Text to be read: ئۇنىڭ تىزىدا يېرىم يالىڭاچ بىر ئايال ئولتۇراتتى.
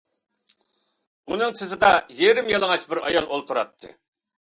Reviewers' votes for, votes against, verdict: 2, 0, accepted